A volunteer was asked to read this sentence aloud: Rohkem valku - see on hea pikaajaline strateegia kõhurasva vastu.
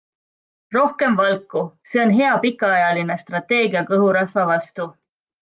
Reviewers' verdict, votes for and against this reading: accepted, 2, 0